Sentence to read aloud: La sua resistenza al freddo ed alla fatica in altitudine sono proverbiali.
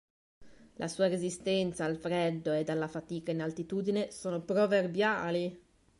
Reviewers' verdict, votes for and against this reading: accepted, 3, 0